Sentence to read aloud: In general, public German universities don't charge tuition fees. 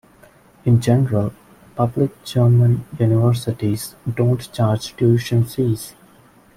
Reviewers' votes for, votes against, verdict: 1, 2, rejected